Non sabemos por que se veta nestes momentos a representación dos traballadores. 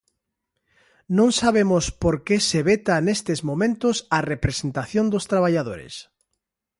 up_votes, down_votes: 2, 0